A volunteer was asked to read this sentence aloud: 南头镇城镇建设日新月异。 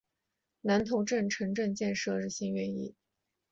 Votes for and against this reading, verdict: 4, 0, accepted